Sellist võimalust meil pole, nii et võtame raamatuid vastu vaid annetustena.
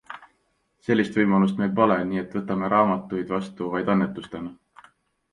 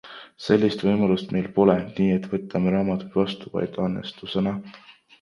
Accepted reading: first